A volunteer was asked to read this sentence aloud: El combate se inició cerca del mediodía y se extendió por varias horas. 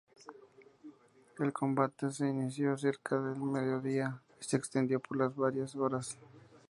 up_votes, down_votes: 2, 0